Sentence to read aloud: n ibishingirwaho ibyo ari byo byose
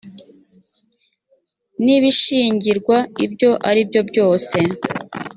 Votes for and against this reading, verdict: 1, 2, rejected